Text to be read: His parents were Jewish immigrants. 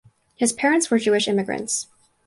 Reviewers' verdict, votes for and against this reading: accepted, 4, 0